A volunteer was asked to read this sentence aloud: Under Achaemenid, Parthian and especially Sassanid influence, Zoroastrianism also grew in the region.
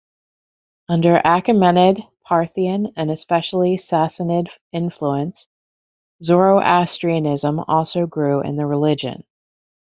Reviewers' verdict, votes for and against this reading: rejected, 0, 2